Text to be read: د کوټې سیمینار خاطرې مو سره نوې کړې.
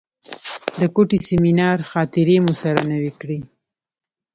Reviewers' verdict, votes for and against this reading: rejected, 0, 2